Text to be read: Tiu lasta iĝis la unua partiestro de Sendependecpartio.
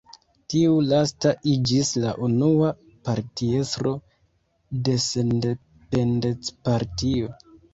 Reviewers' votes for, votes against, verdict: 0, 2, rejected